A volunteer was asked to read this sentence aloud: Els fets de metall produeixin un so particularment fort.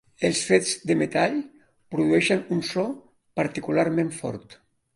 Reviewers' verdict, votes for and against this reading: accepted, 2, 1